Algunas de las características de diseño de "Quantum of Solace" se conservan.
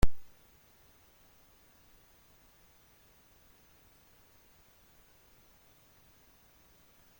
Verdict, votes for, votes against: rejected, 0, 2